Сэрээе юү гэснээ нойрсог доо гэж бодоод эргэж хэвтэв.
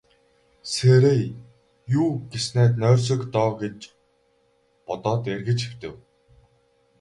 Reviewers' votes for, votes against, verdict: 0, 2, rejected